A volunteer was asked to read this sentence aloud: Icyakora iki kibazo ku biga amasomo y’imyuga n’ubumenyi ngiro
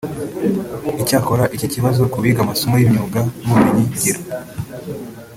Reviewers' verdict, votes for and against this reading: rejected, 1, 2